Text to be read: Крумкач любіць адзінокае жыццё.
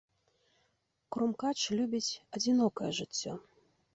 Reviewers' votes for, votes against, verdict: 2, 0, accepted